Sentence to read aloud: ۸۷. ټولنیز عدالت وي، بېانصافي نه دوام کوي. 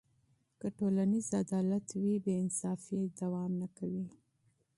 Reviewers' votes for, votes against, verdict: 0, 2, rejected